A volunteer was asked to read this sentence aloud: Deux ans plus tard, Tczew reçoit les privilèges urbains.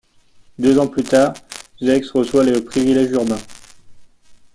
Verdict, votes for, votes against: rejected, 1, 2